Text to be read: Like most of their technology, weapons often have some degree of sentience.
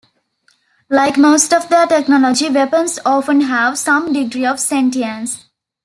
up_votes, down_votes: 3, 0